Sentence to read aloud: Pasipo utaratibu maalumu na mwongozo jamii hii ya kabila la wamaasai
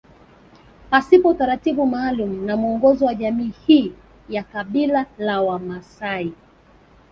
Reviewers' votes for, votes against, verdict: 1, 2, rejected